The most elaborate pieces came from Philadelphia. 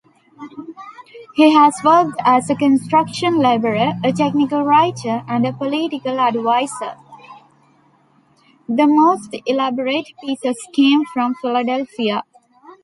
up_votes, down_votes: 0, 2